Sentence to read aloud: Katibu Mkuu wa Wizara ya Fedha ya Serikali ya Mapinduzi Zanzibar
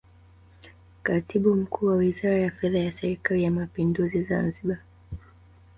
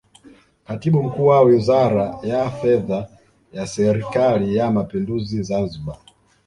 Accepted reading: second